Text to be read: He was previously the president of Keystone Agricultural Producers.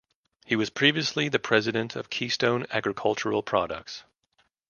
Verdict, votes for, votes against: rejected, 0, 2